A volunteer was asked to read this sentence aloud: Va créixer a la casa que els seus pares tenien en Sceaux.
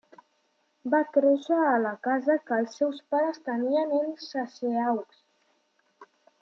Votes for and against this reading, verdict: 1, 2, rejected